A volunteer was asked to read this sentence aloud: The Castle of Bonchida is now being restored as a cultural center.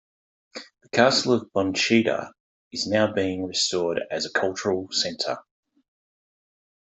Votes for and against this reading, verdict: 2, 0, accepted